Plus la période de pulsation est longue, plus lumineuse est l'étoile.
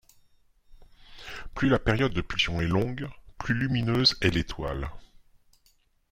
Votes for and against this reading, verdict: 0, 2, rejected